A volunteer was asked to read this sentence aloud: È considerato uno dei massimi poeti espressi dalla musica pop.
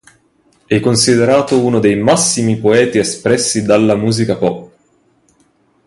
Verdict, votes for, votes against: accepted, 2, 0